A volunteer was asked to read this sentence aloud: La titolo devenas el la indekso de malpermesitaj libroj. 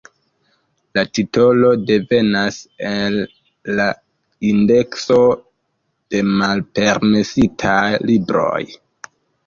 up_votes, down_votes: 2, 1